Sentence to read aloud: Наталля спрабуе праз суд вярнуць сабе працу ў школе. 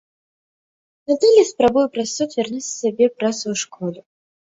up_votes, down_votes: 0, 2